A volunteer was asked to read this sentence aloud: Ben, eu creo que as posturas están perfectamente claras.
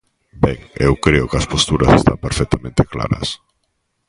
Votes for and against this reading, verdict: 2, 0, accepted